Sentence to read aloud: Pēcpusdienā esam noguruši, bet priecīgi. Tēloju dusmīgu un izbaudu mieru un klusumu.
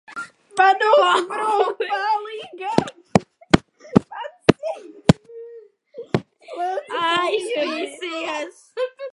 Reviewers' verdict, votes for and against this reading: rejected, 0, 2